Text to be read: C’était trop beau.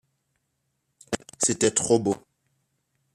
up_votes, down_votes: 3, 0